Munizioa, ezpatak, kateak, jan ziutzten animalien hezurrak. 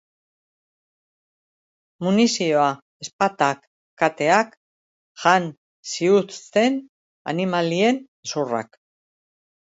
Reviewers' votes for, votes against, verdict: 0, 2, rejected